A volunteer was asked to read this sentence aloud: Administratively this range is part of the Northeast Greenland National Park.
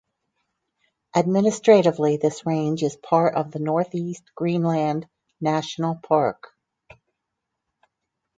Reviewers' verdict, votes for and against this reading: accepted, 4, 0